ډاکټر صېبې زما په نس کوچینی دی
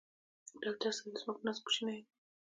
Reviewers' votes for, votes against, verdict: 2, 0, accepted